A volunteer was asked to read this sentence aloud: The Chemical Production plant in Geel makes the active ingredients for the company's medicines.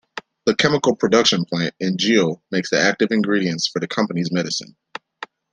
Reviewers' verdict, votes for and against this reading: accepted, 2, 0